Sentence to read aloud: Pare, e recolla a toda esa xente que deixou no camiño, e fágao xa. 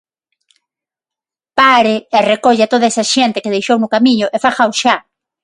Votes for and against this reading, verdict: 6, 3, accepted